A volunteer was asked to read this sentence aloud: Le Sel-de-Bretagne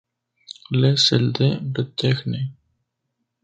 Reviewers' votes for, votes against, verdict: 0, 2, rejected